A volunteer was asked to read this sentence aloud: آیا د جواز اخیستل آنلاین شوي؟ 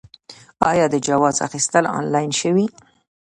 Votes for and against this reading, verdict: 2, 0, accepted